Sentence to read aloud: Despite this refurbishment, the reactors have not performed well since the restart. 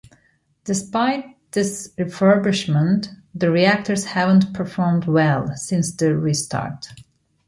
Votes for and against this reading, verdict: 1, 2, rejected